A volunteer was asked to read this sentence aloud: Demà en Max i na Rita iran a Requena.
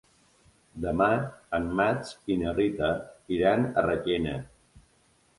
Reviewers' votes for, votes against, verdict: 2, 0, accepted